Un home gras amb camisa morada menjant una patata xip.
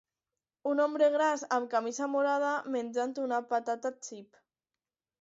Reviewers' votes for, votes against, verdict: 0, 2, rejected